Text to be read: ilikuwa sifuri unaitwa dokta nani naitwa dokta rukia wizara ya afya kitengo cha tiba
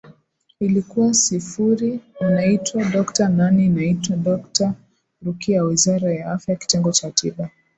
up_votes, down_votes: 2, 0